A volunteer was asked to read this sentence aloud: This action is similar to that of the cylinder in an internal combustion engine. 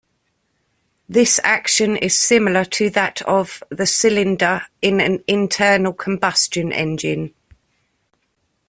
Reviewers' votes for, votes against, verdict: 2, 0, accepted